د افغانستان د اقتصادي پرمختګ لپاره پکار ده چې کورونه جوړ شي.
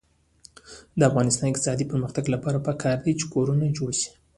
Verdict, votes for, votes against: rejected, 0, 2